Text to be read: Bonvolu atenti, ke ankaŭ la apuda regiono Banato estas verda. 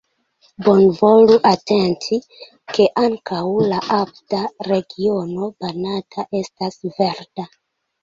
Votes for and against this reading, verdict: 0, 2, rejected